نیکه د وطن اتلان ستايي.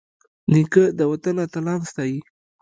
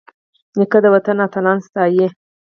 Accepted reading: second